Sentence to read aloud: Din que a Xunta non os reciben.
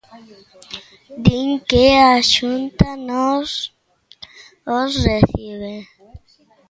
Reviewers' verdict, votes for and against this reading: rejected, 0, 2